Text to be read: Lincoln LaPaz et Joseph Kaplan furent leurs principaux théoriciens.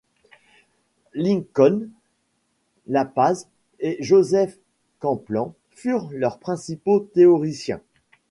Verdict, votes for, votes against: rejected, 0, 2